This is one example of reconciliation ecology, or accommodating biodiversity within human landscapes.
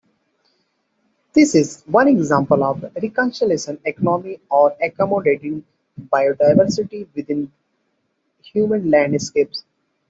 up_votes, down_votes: 0, 2